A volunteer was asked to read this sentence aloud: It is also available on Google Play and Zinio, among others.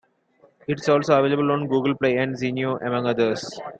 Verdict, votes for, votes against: accepted, 2, 0